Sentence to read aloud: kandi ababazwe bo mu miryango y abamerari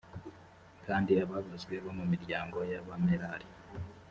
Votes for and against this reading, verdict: 2, 0, accepted